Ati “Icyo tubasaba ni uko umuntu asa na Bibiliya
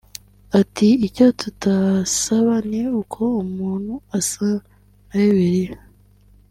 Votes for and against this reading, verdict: 3, 2, accepted